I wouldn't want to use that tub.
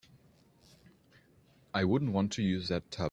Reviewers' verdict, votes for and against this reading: accepted, 2, 0